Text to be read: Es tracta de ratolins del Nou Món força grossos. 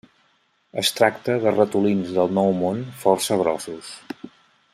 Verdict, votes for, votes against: accepted, 2, 0